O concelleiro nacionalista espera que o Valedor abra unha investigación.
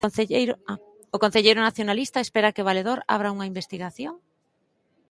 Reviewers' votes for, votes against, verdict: 0, 2, rejected